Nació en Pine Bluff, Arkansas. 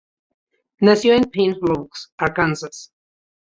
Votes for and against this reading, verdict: 2, 0, accepted